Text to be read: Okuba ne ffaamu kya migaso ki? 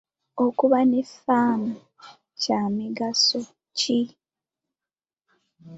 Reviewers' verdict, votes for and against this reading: accepted, 2, 0